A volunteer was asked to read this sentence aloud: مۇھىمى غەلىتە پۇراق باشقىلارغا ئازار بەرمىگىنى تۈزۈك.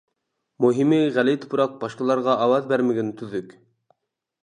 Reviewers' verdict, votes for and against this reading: rejected, 0, 2